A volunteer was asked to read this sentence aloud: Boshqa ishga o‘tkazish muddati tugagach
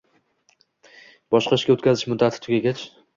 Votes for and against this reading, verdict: 2, 0, accepted